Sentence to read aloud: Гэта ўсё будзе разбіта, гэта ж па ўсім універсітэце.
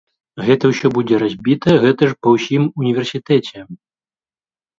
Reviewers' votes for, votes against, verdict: 2, 0, accepted